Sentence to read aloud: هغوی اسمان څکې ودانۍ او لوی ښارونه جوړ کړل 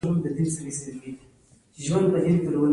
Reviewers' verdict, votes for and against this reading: accepted, 2, 0